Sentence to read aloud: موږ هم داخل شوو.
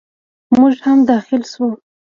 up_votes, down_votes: 0, 2